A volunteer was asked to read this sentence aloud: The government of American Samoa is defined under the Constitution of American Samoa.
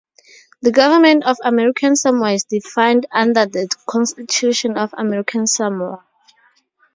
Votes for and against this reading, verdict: 0, 2, rejected